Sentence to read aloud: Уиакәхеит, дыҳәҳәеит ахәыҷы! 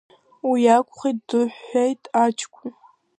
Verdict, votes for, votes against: rejected, 0, 2